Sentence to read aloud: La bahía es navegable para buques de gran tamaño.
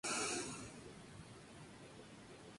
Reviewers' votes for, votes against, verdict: 0, 2, rejected